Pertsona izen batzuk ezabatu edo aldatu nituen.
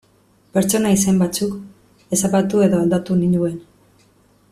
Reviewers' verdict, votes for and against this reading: rejected, 0, 2